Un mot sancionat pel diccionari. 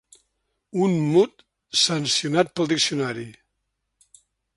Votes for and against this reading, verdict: 0, 2, rejected